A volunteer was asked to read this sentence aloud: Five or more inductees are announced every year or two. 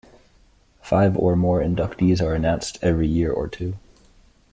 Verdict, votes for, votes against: accepted, 2, 0